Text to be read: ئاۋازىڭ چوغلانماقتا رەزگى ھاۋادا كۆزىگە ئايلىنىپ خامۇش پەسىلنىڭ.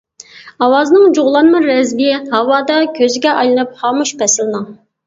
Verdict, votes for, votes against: rejected, 0, 2